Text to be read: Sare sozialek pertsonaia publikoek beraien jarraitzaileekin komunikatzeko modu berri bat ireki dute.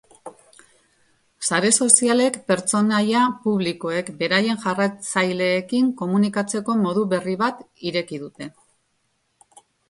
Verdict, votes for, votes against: accepted, 2, 0